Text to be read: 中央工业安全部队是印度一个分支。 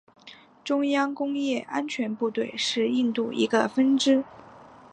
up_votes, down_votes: 3, 0